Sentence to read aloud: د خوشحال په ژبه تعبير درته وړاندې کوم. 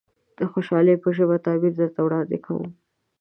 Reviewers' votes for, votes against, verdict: 0, 2, rejected